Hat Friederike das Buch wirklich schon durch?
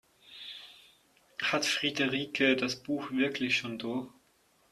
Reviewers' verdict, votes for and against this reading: accepted, 6, 2